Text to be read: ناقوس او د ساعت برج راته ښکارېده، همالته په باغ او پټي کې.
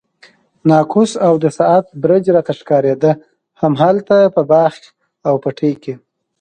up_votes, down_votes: 0, 2